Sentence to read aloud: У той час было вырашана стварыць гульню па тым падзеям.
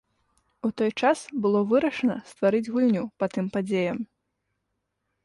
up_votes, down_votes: 3, 0